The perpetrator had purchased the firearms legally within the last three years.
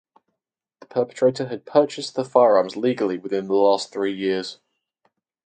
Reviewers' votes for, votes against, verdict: 4, 0, accepted